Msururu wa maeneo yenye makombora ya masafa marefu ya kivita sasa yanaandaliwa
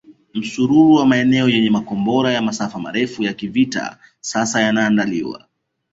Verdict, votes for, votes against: accepted, 2, 0